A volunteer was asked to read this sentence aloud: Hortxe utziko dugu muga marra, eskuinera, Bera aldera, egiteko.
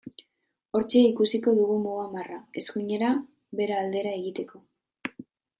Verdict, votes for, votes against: rejected, 0, 2